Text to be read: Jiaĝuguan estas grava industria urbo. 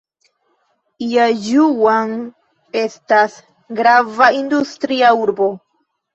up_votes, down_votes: 0, 2